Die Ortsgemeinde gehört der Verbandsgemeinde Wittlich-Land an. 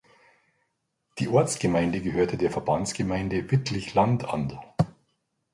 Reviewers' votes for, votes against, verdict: 1, 2, rejected